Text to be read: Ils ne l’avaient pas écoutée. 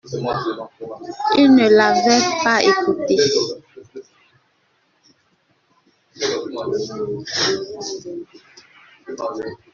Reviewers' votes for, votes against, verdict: 0, 2, rejected